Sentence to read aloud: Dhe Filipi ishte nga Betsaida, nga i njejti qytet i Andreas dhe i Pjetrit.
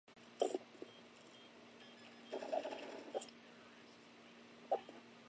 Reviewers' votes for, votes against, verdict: 0, 2, rejected